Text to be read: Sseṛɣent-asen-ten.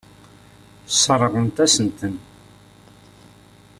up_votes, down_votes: 3, 0